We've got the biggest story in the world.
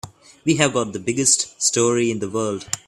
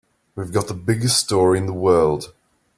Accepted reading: second